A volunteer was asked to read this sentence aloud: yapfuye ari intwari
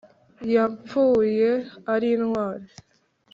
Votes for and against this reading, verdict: 2, 0, accepted